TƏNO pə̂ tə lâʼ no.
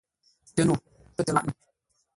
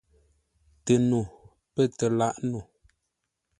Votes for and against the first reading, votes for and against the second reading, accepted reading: 0, 2, 2, 0, second